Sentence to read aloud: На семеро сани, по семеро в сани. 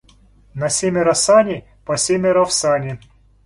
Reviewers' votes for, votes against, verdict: 2, 0, accepted